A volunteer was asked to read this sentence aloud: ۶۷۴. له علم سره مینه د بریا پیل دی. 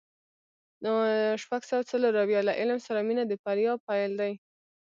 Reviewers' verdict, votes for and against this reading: rejected, 0, 2